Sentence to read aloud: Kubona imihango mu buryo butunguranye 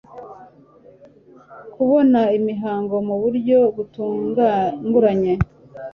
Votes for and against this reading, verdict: 0, 2, rejected